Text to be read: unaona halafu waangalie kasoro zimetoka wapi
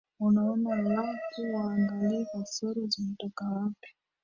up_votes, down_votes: 0, 3